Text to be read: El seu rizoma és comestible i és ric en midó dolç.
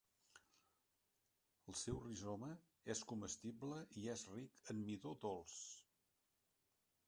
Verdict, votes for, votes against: rejected, 0, 2